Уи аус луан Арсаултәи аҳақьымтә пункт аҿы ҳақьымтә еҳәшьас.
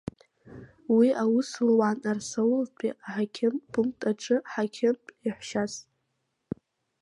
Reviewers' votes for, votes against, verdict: 2, 0, accepted